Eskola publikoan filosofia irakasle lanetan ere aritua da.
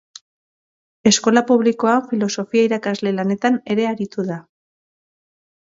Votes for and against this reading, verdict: 0, 3, rejected